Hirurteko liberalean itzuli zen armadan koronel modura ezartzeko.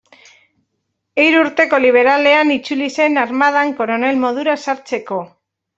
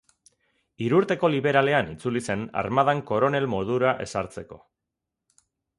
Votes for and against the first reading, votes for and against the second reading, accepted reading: 1, 2, 4, 0, second